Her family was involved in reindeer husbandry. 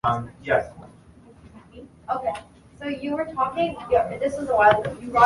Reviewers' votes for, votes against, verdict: 0, 2, rejected